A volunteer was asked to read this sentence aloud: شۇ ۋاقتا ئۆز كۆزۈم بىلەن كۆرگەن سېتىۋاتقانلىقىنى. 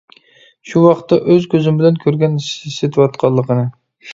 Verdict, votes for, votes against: rejected, 1, 2